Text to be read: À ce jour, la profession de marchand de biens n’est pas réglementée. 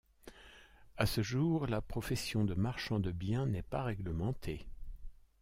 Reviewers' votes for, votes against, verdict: 2, 1, accepted